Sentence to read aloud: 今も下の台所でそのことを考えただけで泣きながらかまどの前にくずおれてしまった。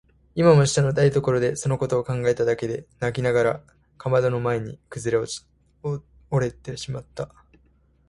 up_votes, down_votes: 2, 1